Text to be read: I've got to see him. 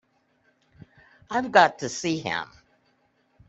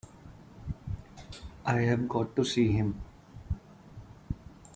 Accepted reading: first